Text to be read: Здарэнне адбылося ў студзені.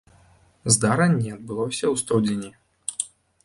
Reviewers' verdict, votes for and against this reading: rejected, 0, 2